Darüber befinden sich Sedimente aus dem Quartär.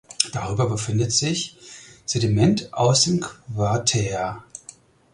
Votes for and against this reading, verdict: 2, 4, rejected